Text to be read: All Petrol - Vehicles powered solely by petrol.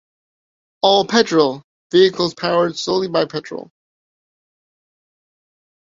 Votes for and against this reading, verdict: 2, 0, accepted